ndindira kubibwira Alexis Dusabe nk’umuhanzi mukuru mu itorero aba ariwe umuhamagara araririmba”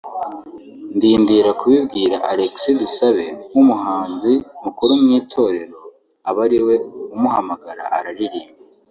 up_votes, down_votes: 2, 1